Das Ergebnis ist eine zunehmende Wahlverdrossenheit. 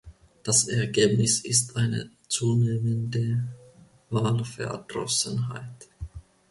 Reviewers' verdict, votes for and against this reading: accepted, 2, 0